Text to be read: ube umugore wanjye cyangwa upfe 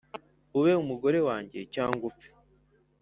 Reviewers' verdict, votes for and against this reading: accepted, 2, 0